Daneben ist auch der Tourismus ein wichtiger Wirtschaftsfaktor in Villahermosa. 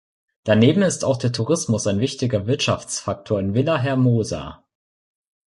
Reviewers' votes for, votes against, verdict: 2, 0, accepted